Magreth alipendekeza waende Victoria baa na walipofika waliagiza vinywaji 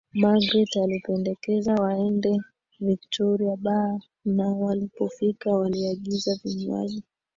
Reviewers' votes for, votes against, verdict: 2, 1, accepted